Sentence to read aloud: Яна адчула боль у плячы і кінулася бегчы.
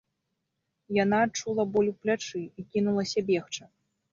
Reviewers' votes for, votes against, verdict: 2, 0, accepted